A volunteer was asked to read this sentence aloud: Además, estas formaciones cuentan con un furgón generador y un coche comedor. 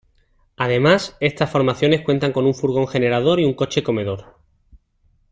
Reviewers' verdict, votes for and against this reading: accepted, 2, 0